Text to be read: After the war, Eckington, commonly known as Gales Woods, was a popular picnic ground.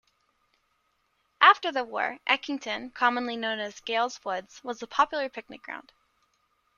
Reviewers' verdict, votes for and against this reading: accepted, 2, 0